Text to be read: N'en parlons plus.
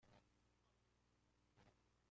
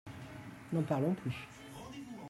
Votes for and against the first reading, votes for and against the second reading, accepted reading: 0, 2, 2, 1, second